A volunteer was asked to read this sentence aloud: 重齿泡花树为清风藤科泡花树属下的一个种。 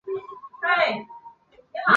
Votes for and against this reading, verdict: 0, 2, rejected